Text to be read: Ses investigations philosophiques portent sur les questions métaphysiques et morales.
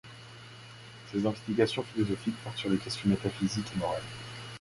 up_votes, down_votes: 0, 2